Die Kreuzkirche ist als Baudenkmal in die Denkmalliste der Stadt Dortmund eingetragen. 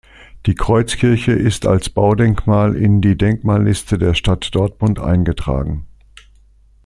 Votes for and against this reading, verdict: 2, 0, accepted